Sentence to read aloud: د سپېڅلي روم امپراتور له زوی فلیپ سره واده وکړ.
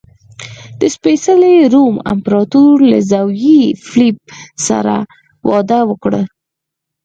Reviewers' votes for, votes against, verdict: 0, 6, rejected